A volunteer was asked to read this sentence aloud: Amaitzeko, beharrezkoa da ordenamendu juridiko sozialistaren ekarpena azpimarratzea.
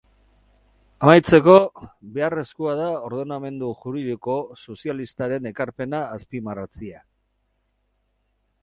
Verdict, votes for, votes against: rejected, 0, 4